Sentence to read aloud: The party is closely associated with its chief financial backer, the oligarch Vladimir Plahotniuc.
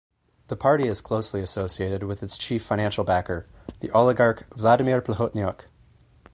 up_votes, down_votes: 4, 0